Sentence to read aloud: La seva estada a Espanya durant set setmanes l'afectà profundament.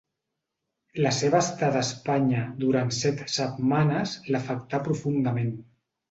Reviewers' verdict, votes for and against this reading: accepted, 2, 0